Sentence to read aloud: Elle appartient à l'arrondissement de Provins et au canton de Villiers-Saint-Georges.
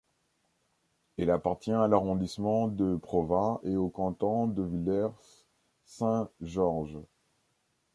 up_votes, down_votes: 1, 2